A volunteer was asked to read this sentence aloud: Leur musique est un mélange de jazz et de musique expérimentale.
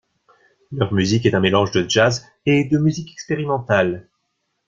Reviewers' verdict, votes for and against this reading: accepted, 2, 0